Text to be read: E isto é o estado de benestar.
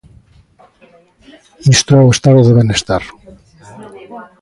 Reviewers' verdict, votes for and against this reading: rejected, 0, 2